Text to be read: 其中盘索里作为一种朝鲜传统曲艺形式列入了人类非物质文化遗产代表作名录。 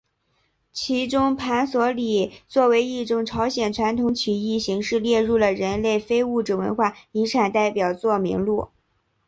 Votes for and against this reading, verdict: 2, 1, accepted